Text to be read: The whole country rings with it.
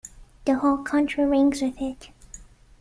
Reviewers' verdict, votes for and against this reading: accepted, 2, 0